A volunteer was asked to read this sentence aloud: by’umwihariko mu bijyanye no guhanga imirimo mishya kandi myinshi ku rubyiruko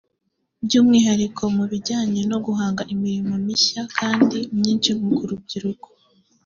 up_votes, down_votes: 2, 1